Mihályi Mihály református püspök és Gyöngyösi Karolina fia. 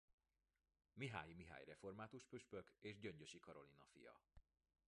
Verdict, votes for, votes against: rejected, 0, 2